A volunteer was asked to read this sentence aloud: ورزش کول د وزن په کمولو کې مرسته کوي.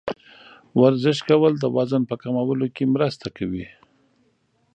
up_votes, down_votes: 2, 0